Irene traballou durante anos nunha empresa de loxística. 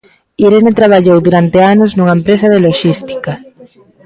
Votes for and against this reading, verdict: 1, 2, rejected